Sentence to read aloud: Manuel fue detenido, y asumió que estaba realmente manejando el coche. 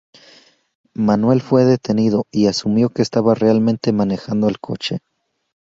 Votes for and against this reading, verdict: 2, 4, rejected